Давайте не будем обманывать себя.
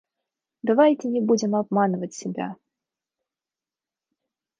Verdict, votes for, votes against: accepted, 2, 0